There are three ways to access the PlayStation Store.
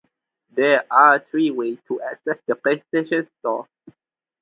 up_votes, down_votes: 4, 2